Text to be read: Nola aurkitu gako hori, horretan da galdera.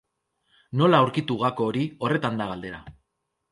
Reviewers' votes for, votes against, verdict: 2, 0, accepted